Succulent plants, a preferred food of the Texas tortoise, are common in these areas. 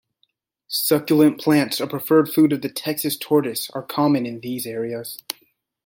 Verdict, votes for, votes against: accepted, 2, 0